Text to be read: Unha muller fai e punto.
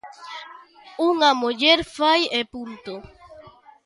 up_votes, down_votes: 0, 2